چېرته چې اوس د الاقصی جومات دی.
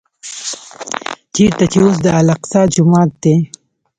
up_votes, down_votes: 0, 2